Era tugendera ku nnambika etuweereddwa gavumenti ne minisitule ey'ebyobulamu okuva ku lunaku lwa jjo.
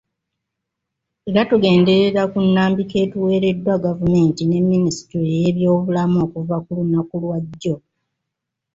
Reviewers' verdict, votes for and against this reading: rejected, 1, 2